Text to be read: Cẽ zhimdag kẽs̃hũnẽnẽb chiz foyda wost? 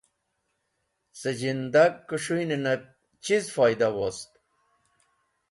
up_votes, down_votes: 2, 1